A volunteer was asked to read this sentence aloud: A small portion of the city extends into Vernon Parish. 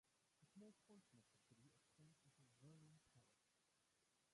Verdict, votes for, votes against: rejected, 0, 2